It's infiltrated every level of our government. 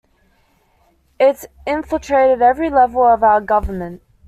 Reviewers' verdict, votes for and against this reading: accepted, 2, 0